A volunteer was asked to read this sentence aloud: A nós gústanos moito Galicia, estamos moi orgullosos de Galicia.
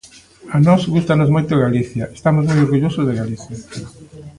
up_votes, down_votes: 1, 2